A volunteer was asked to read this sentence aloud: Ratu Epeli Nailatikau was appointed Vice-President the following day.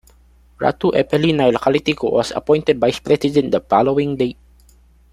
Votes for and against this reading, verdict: 1, 2, rejected